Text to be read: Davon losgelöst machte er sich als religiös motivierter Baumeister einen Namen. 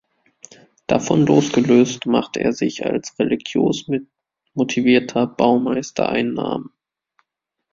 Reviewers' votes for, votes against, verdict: 0, 2, rejected